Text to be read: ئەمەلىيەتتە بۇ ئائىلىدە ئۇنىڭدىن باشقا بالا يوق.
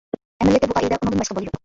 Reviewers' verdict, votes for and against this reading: rejected, 0, 2